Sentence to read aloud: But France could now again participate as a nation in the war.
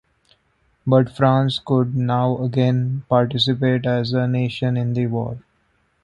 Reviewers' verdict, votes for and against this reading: accepted, 2, 0